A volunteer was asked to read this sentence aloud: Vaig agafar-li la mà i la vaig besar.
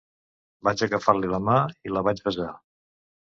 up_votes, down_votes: 2, 0